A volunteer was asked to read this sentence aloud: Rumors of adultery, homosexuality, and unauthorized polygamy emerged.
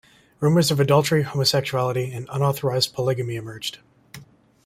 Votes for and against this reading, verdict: 2, 0, accepted